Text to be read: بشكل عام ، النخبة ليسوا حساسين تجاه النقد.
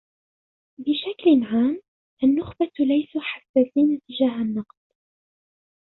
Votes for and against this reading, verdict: 0, 2, rejected